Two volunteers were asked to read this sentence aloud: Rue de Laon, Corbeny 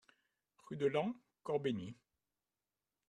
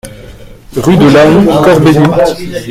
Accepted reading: first